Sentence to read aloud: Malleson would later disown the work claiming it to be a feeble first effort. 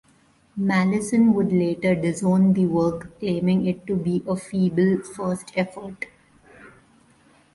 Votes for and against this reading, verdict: 2, 0, accepted